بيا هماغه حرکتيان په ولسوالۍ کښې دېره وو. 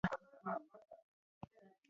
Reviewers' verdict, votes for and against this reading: rejected, 1, 2